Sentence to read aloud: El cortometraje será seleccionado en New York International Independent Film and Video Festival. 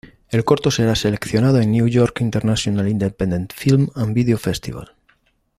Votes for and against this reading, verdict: 1, 2, rejected